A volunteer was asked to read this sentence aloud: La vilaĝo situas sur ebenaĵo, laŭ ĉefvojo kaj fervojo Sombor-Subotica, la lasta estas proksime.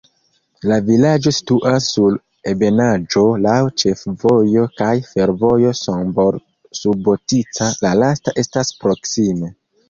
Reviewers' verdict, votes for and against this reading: rejected, 0, 2